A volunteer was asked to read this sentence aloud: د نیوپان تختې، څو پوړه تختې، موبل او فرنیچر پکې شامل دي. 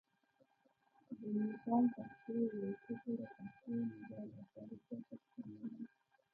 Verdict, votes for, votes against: rejected, 1, 2